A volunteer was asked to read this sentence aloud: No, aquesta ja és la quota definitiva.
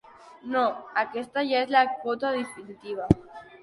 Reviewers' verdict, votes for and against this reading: accepted, 2, 0